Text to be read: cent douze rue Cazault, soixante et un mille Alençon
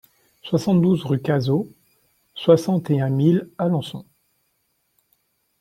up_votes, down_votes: 1, 2